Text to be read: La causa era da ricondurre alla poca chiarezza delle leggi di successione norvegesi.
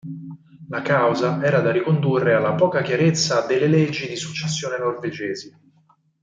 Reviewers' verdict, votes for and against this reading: accepted, 4, 0